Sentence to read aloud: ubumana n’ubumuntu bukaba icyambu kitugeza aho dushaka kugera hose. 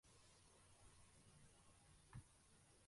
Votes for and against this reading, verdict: 0, 2, rejected